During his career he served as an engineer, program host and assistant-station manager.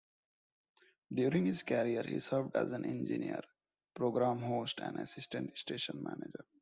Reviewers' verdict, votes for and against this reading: accepted, 2, 1